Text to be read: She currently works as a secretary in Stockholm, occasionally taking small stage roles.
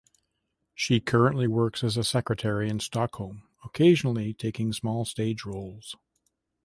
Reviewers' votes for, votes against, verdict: 2, 0, accepted